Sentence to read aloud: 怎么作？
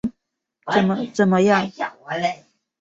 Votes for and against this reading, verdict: 1, 3, rejected